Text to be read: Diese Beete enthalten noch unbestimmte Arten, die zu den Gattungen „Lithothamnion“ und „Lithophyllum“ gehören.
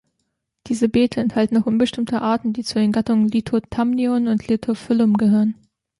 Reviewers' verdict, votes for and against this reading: rejected, 1, 2